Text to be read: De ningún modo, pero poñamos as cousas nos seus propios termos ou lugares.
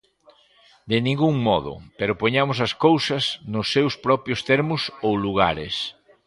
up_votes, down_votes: 2, 0